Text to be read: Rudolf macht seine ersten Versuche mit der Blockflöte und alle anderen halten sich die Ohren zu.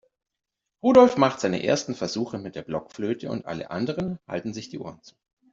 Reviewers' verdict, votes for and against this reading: accepted, 2, 0